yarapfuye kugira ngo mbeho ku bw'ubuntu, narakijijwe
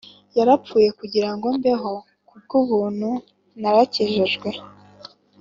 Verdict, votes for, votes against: accepted, 2, 0